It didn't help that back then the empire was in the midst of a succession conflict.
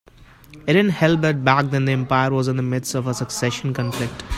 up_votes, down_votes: 2, 1